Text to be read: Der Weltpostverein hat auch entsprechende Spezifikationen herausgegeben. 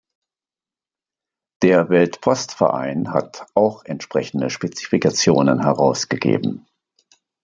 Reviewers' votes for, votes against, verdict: 2, 0, accepted